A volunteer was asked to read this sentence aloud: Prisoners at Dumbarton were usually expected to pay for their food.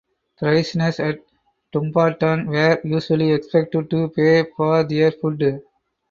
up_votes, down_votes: 4, 0